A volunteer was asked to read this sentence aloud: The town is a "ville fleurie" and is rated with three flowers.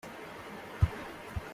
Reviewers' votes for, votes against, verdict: 0, 2, rejected